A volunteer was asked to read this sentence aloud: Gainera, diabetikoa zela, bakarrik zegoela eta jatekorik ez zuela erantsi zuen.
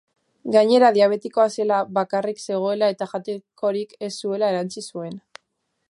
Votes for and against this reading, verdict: 2, 0, accepted